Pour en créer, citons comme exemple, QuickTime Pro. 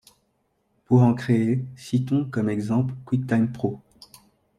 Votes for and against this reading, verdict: 2, 0, accepted